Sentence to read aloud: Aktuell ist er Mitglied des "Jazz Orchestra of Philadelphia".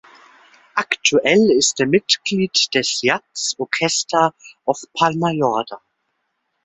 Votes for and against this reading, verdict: 0, 2, rejected